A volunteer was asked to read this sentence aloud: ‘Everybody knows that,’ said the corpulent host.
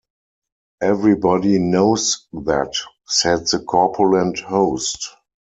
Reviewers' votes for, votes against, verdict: 2, 4, rejected